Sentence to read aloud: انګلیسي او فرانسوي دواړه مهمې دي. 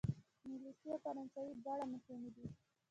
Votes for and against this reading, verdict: 0, 2, rejected